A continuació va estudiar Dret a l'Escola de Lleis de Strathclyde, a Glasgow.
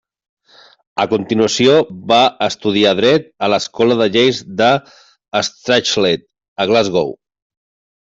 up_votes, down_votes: 1, 2